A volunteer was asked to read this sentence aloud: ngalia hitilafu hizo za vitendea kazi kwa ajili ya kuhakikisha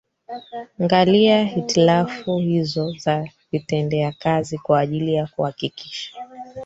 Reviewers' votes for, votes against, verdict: 1, 3, rejected